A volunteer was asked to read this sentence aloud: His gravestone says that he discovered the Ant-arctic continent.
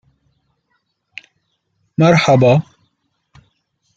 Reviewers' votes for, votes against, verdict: 0, 2, rejected